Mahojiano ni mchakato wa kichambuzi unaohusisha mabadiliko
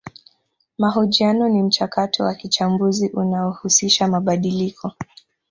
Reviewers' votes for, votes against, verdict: 3, 0, accepted